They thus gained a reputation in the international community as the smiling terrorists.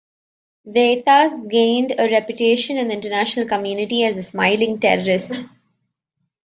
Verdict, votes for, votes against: accepted, 2, 0